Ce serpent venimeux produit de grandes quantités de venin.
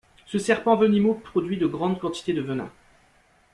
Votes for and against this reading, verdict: 0, 2, rejected